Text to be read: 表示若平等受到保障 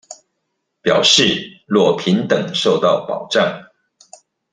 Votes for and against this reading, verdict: 2, 0, accepted